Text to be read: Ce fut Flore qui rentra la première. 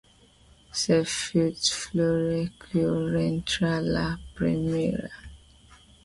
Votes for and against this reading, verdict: 1, 2, rejected